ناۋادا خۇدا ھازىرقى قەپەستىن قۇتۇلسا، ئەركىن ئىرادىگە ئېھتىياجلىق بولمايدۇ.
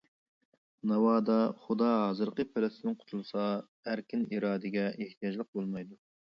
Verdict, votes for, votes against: rejected, 0, 2